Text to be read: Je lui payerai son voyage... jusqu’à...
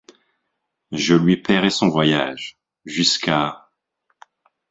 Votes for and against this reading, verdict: 6, 0, accepted